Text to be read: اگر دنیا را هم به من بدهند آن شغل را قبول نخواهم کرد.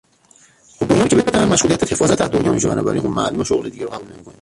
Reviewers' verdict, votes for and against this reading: rejected, 0, 2